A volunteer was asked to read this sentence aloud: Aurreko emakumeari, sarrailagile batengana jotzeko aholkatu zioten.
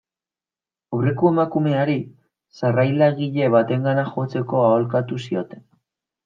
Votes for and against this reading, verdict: 2, 0, accepted